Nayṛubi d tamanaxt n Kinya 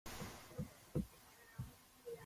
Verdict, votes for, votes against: rejected, 0, 2